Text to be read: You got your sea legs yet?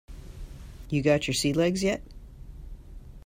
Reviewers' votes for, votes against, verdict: 2, 0, accepted